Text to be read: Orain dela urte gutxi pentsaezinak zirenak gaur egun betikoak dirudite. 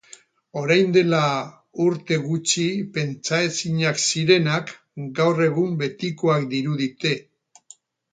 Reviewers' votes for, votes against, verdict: 2, 2, rejected